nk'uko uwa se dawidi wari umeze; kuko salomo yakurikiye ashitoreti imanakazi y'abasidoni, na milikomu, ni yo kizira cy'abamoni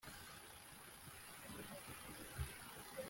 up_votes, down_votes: 1, 2